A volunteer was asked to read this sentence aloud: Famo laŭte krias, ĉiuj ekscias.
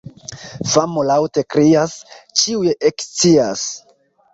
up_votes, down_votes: 1, 3